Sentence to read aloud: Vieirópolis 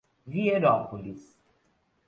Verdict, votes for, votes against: rejected, 1, 2